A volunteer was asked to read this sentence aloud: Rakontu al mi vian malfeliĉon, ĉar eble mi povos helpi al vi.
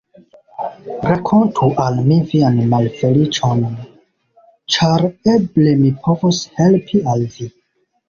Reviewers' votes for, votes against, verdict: 1, 2, rejected